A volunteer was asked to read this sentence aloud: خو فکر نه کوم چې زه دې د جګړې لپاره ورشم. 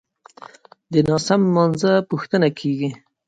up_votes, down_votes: 2, 0